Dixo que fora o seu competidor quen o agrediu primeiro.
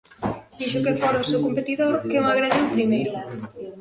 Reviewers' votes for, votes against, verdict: 1, 2, rejected